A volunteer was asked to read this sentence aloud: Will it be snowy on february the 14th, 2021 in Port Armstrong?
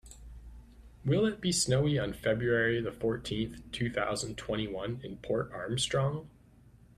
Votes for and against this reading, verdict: 0, 2, rejected